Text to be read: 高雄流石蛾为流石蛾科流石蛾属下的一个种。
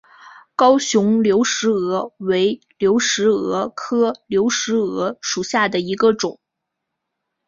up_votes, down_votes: 4, 0